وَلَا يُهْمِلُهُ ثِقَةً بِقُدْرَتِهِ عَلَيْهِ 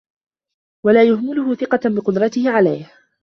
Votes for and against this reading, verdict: 2, 1, accepted